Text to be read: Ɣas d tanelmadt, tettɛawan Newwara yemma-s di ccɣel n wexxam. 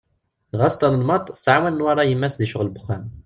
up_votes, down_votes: 0, 2